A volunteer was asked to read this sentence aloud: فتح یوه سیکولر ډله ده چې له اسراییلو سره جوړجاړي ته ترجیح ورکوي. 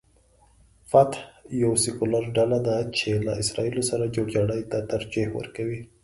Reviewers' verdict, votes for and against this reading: accepted, 2, 0